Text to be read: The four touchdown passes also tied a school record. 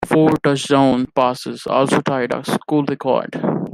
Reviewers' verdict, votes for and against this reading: accepted, 2, 1